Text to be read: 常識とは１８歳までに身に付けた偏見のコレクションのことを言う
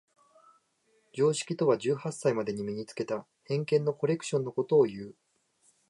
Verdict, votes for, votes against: rejected, 0, 2